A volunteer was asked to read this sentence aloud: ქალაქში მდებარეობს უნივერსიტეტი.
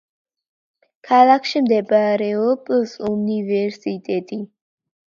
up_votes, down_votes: 0, 2